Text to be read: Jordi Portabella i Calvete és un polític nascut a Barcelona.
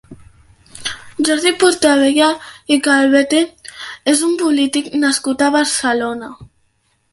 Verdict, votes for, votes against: accepted, 2, 0